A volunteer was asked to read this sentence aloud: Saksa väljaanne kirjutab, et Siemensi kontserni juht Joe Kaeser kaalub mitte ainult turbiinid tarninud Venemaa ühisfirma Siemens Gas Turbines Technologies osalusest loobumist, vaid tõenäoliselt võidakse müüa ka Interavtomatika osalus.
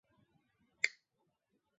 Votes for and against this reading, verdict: 0, 2, rejected